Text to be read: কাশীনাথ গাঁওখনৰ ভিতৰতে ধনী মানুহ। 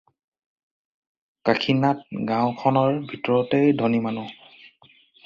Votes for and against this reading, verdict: 4, 0, accepted